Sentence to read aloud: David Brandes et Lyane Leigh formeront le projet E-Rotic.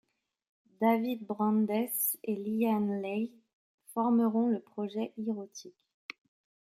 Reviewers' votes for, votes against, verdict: 2, 0, accepted